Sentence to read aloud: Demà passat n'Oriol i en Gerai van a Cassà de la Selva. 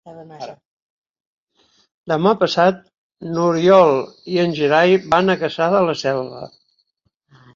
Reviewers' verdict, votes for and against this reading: rejected, 1, 2